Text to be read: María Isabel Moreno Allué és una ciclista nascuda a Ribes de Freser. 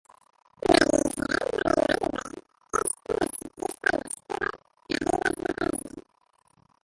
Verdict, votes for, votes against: rejected, 0, 2